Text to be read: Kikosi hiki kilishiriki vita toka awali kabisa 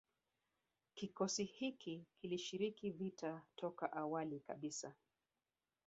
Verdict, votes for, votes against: accepted, 3, 2